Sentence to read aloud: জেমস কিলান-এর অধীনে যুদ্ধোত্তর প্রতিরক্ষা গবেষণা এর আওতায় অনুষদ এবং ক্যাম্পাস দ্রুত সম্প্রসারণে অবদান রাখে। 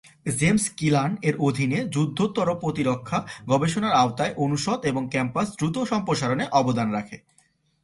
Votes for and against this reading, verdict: 2, 0, accepted